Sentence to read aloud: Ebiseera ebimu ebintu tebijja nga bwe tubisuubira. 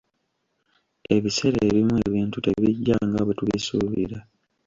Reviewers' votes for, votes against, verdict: 1, 2, rejected